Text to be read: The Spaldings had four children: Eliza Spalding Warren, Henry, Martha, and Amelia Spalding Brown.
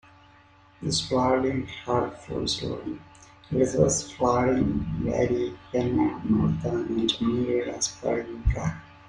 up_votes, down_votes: 0, 2